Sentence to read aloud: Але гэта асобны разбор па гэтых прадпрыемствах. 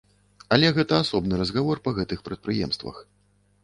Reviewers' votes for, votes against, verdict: 1, 2, rejected